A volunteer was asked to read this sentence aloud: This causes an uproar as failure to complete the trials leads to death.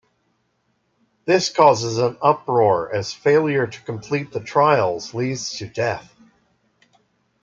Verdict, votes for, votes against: accepted, 2, 1